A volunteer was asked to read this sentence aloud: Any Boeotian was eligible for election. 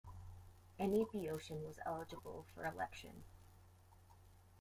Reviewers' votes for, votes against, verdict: 1, 2, rejected